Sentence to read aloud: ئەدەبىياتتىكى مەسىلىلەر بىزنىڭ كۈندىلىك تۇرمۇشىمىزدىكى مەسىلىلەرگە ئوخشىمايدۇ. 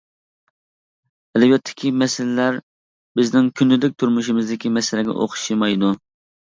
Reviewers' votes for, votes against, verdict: 0, 2, rejected